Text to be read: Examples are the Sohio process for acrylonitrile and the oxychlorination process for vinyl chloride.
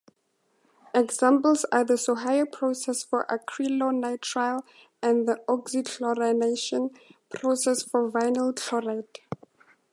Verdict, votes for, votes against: accepted, 2, 0